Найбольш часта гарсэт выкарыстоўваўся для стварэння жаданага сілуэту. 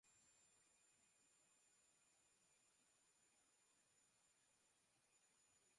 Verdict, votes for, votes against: rejected, 0, 2